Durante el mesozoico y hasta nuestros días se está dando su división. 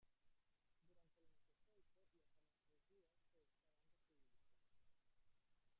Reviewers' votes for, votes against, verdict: 0, 2, rejected